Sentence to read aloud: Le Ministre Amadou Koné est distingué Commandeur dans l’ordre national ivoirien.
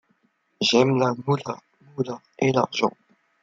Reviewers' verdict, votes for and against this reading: rejected, 1, 2